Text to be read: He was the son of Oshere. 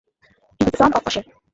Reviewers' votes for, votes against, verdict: 0, 2, rejected